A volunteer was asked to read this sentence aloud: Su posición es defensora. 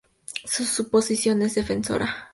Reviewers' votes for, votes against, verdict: 2, 0, accepted